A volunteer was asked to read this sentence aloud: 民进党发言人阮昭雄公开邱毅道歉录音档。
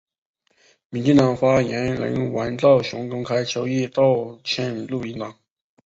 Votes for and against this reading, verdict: 6, 1, accepted